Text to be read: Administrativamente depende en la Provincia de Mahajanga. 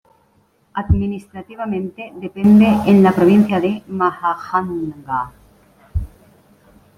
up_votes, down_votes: 0, 2